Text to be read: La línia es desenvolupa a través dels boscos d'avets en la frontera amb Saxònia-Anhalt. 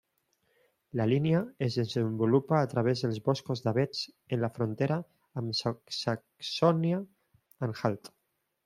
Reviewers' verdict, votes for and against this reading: rejected, 0, 2